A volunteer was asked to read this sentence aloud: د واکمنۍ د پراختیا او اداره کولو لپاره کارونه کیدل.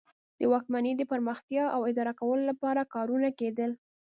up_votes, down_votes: 0, 2